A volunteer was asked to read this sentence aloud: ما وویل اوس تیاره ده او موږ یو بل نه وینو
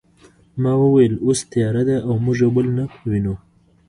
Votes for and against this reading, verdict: 1, 2, rejected